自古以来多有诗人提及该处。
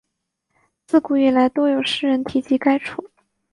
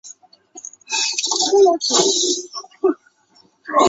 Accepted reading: first